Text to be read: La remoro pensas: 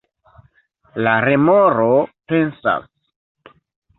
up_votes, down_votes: 2, 0